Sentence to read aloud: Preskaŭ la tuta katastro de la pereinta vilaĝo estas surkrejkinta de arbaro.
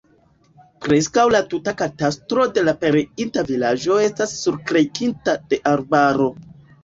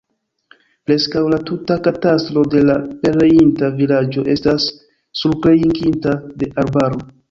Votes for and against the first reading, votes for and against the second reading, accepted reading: 2, 0, 0, 2, first